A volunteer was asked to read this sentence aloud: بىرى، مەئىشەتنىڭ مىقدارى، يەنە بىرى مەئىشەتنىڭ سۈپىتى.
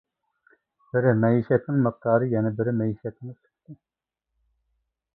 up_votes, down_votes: 1, 2